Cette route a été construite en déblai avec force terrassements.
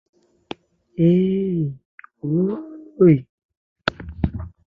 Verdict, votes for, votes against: rejected, 0, 2